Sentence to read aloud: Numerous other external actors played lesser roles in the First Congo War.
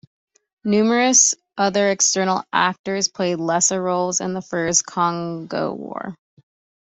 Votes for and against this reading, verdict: 2, 0, accepted